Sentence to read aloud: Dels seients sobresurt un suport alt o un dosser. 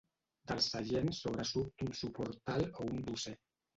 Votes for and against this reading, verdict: 2, 3, rejected